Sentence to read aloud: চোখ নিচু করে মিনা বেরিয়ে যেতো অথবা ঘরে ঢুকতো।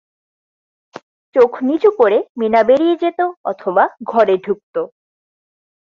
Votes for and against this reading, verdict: 2, 0, accepted